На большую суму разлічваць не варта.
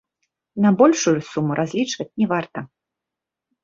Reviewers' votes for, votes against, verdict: 3, 0, accepted